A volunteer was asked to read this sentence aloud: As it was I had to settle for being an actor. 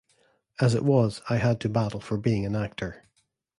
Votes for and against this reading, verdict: 0, 2, rejected